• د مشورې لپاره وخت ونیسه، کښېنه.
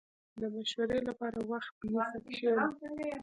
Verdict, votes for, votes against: rejected, 1, 2